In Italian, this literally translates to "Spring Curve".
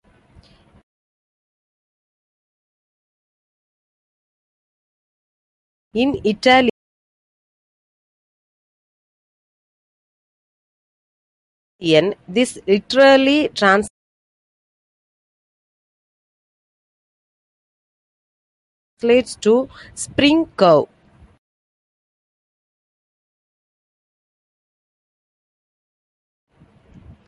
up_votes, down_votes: 0, 2